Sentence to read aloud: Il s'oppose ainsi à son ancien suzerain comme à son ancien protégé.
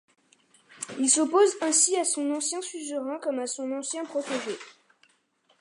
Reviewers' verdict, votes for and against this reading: accepted, 2, 1